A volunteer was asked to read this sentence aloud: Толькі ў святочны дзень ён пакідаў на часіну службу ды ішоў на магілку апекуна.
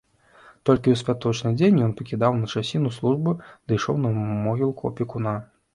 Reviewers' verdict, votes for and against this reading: rejected, 1, 2